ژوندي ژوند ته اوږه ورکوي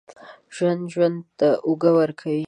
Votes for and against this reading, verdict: 1, 2, rejected